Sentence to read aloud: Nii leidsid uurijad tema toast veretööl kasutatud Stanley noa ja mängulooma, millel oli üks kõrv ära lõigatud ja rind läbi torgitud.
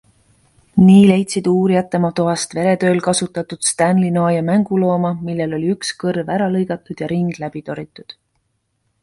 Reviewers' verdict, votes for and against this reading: accepted, 2, 0